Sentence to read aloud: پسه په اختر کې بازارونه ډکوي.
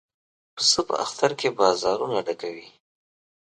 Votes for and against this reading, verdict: 2, 0, accepted